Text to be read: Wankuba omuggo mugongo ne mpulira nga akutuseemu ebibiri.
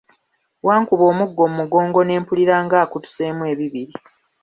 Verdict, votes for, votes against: accepted, 2, 0